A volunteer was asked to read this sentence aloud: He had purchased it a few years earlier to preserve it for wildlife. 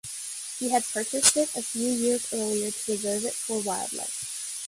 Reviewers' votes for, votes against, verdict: 1, 2, rejected